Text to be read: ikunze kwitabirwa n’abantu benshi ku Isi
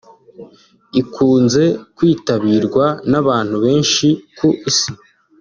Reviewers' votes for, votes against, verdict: 2, 0, accepted